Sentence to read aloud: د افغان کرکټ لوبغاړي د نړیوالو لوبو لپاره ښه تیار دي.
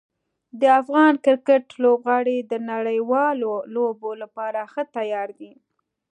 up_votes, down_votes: 2, 0